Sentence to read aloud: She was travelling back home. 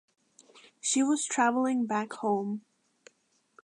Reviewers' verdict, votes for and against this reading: accepted, 2, 0